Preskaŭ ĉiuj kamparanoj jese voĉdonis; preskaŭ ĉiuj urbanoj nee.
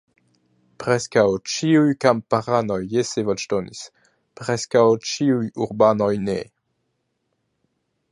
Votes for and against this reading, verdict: 2, 1, accepted